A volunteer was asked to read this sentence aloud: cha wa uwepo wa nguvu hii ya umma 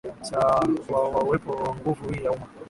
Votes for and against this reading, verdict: 7, 6, accepted